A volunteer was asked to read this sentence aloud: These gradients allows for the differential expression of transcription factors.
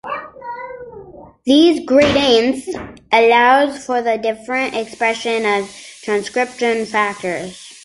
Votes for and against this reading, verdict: 1, 2, rejected